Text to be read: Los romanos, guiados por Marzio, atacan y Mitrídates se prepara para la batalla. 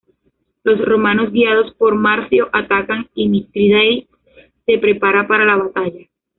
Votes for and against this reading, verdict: 0, 2, rejected